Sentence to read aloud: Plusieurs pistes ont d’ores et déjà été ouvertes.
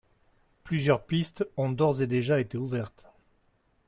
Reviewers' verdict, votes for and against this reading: accepted, 2, 0